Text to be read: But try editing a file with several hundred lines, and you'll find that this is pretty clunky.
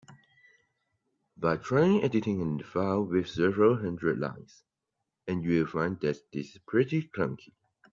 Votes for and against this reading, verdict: 2, 0, accepted